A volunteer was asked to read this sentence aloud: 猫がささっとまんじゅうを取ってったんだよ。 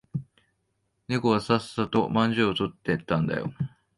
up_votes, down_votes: 0, 2